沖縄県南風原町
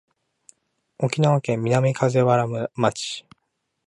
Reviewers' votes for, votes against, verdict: 1, 2, rejected